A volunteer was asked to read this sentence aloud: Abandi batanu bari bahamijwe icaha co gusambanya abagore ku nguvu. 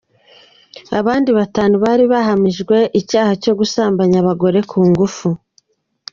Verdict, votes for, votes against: rejected, 1, 3